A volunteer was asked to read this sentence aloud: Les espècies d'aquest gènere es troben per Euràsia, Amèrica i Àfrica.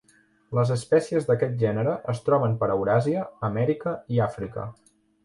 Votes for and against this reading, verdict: 2, 0, accepted